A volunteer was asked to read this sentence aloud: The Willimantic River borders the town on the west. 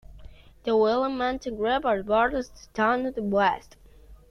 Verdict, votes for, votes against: accepted, 2, 1